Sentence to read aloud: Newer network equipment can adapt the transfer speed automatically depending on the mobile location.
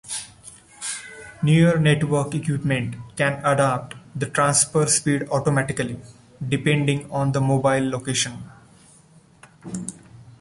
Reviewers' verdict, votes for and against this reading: accepted, 2, 1